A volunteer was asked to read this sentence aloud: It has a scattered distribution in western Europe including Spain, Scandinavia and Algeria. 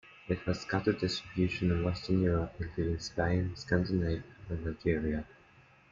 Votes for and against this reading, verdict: 1, 2, rejected